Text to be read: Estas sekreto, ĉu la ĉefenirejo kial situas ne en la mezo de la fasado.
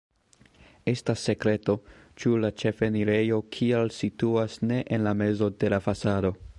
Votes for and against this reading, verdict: 0, 2, rejected